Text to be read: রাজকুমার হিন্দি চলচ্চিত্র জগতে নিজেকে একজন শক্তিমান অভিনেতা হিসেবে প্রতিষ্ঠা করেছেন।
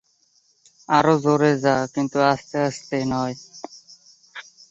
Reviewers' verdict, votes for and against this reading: rejected, 0, 2